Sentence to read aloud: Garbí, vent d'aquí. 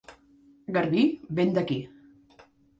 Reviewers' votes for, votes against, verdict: 2, 0, accepted